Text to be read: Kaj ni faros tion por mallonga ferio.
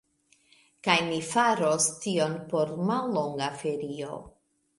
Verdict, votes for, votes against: accepted, 2, 0